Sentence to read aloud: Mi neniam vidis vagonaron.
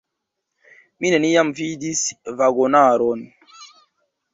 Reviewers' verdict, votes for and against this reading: accepted, 2, 1